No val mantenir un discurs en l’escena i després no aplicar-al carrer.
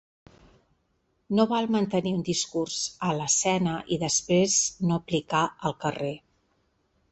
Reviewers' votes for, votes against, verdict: 2, 0, accepted